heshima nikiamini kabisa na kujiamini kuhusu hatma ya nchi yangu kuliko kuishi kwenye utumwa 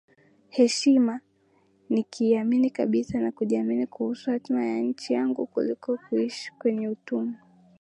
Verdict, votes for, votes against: rejected, 4, 5